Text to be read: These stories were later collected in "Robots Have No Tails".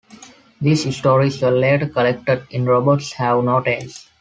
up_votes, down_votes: 1, 2